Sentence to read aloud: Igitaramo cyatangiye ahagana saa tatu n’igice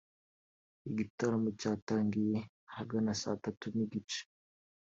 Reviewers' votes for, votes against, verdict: 1, 2, rejected